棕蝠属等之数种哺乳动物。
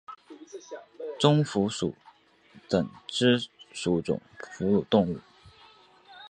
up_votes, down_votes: 4, 2